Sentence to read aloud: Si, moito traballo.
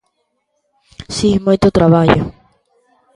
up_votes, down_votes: 2, 0